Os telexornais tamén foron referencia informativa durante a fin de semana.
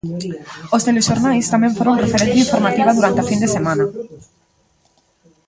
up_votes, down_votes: 1, 2